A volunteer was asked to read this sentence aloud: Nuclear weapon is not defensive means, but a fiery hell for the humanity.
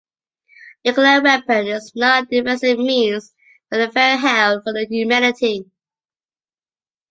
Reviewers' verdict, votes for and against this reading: rejected, 0, 2